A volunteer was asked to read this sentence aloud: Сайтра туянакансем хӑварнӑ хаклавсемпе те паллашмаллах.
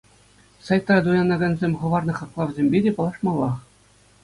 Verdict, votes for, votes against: accepted, 2, 0